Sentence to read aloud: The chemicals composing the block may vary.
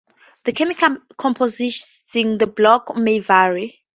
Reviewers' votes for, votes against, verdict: 0, 4, rejected